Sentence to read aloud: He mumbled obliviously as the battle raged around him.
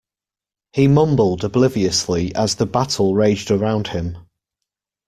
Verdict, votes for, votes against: accepted, 2, 0